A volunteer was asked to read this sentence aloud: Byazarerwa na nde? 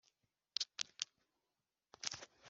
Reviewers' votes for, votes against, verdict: 0, 2, rejected